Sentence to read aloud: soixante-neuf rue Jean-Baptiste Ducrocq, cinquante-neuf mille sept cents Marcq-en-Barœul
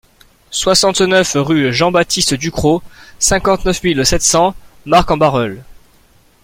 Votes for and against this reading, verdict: 2, 0, accepted